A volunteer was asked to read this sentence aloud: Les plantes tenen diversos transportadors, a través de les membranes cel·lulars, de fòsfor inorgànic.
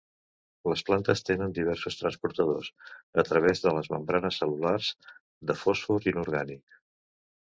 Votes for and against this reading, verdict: 2, 0, accepted